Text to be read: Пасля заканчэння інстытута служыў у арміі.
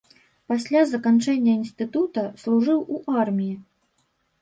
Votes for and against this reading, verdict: 2, 0, accepted